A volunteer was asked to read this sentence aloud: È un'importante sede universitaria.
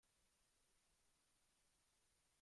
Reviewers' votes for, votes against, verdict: 0, 2, rejected